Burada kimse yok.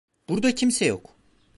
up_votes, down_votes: 2, 1